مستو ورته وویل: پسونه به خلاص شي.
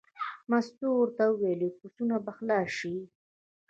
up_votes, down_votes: 2, 0